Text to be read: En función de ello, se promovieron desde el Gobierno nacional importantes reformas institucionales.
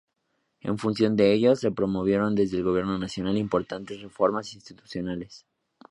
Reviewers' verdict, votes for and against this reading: accepted, 2, 0